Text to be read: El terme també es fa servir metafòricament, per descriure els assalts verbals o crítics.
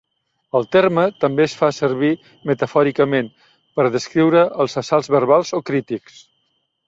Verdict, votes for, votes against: accepted, 3, 0